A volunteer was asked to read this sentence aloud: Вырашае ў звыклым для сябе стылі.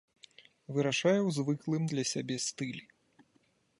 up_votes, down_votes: 2, 0